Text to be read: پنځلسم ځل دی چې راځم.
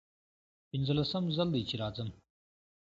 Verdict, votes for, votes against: accepted, 2, 0